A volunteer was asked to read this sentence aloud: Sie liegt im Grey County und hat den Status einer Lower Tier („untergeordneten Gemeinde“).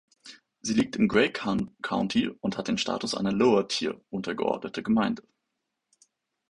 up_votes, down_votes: 0, 2